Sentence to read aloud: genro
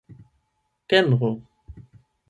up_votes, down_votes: 4, 8